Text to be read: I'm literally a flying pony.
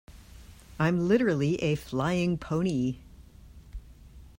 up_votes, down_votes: 2, 0